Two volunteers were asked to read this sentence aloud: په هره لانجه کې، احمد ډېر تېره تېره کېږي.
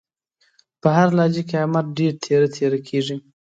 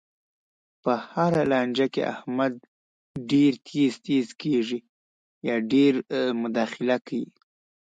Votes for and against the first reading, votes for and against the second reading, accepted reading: 2, 0, 0, 2, first